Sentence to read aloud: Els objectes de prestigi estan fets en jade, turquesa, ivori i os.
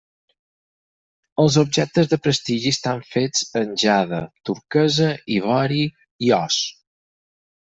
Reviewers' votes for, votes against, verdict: 4, 0, accepted